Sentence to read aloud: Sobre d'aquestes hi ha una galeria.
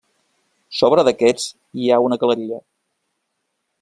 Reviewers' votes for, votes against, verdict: 1, 2, rejected